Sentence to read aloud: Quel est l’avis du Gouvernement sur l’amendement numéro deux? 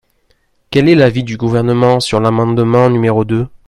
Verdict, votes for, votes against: rejected, 1, 2